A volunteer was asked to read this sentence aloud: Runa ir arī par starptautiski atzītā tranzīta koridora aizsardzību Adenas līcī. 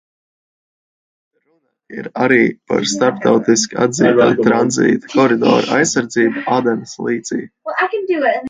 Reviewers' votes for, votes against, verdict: 0, 2, rejected